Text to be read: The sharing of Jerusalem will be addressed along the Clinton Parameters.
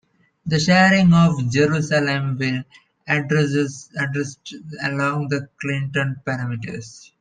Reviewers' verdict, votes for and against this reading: rejected, 0, 2